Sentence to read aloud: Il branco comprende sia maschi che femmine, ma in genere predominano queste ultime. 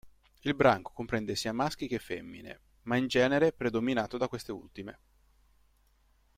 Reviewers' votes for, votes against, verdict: 0, 2, rejected